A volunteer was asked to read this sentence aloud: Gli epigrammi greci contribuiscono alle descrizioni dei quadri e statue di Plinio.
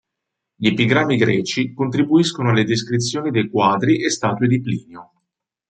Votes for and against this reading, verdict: 3, 0, accepted